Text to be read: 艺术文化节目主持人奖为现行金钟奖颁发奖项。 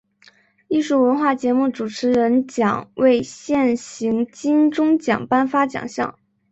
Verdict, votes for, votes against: accepted, 4, 0